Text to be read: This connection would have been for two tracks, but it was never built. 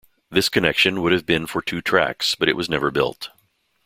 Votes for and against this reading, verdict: 2, 0, accepted